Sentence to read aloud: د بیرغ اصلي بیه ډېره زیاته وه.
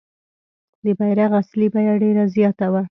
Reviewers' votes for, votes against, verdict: 2, 0, accepted